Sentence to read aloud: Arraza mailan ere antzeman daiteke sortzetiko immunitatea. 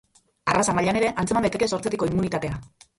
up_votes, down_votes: 1, 2